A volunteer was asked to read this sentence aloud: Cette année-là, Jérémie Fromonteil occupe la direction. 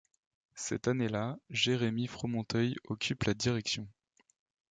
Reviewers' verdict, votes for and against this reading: accepted, 2, 0